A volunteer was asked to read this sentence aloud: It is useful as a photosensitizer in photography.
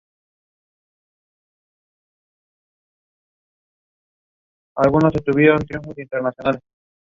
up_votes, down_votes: 0, 2